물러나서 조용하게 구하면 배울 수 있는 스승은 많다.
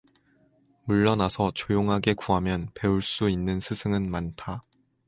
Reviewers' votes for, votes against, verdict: 2, 0, accepted